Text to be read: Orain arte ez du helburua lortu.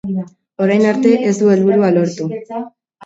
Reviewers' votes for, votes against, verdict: 3, 0, accepted